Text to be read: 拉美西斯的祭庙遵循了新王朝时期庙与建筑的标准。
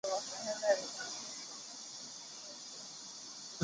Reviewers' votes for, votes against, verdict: 0, 3, rejected